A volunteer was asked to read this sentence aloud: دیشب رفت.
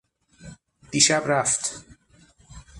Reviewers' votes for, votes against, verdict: 6, 0, accepted